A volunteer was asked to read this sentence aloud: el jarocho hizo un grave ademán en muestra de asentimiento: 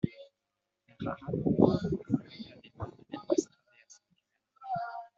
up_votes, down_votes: 1, 2